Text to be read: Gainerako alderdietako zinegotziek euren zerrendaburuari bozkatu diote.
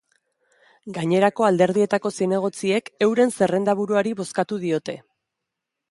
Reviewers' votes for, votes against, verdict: 2, 0, accepted